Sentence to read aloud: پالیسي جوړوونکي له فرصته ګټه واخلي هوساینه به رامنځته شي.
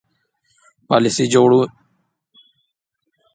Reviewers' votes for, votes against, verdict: 2, 3, rejected